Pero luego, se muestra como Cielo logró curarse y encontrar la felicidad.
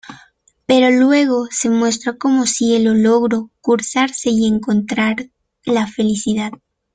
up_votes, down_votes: 0, 2